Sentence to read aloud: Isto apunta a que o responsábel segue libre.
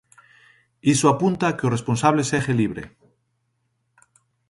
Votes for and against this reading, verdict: 0, 2, rejected